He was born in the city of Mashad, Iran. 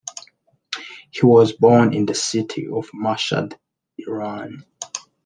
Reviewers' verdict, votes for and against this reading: accepted, 2, 1